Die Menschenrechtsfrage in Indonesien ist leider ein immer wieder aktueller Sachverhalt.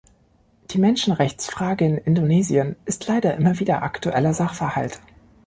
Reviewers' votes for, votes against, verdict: 0, 2, rejected